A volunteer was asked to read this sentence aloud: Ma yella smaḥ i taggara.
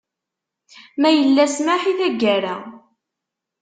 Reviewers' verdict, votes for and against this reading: accepted, 2, 0